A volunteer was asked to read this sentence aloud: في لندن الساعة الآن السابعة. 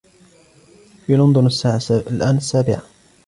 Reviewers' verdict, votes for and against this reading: accepted, 2, 1